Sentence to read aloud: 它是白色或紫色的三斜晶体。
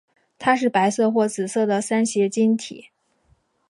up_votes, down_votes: 5, 0